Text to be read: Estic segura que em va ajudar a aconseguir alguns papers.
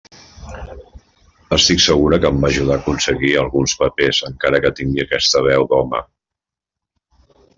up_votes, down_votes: 0, 2